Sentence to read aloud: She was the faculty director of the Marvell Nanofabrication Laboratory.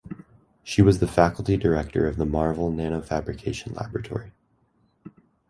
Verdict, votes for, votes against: accepted, 2, 0